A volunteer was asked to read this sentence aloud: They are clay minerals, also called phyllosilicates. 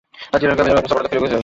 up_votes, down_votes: 0, 2